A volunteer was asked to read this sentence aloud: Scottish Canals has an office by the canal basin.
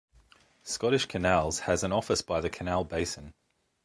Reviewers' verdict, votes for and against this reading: accepted, 2, 0